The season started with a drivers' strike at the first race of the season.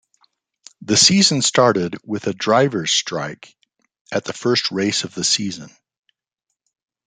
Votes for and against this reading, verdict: 2, 0, accepted